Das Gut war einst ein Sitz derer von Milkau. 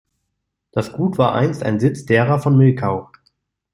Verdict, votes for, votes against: accepted, 2, 0